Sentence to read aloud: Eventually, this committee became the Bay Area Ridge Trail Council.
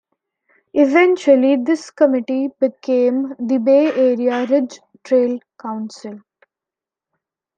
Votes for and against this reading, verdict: 2, 0, accepted